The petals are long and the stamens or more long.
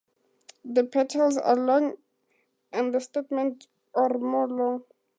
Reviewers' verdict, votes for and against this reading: accepted, 2, 0